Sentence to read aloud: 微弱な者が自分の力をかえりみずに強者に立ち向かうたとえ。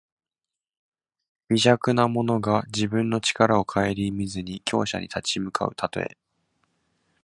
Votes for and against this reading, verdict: 2, 0, accepted